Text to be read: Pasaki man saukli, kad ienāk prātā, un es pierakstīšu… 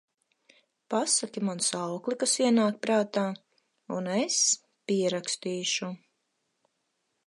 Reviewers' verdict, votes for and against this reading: rejected, 2, 4